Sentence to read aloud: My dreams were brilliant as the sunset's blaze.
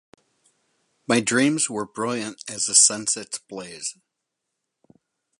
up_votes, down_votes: 4, 0